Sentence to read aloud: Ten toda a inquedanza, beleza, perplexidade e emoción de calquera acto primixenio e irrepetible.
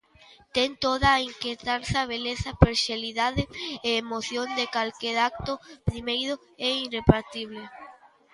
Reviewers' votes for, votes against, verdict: 0, 2, rejected